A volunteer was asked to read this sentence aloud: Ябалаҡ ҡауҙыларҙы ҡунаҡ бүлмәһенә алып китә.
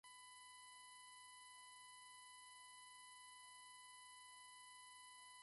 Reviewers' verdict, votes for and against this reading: rejected, 0, 3